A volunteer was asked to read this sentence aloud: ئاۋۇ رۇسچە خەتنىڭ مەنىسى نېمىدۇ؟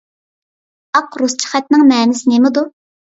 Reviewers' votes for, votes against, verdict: 0, 2, rejected